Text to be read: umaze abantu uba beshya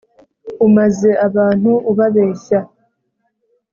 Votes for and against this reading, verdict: 2, 0, accepted